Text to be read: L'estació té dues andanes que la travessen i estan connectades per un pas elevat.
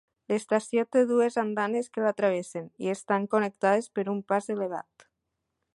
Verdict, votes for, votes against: accepted, 2, 0